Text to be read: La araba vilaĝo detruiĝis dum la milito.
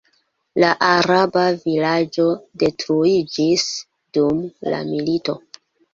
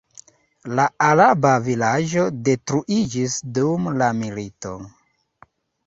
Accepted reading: second